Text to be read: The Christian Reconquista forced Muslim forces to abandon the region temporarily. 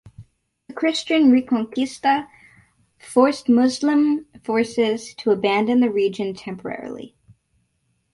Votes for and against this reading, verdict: 2, 2, rejected